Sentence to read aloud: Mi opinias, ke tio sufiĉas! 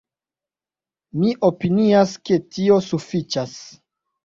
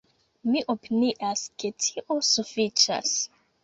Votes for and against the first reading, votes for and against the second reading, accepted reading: 0, 2, 2, 0, second